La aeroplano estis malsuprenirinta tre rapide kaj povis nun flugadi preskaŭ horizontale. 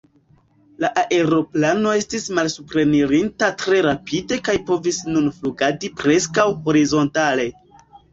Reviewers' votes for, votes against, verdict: 1, 2, rejected